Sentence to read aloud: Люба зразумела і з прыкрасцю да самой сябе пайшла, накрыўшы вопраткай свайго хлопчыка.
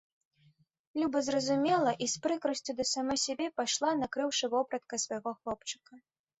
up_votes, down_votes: 2, 0